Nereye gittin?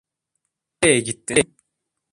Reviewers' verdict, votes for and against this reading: rejected, 0, 2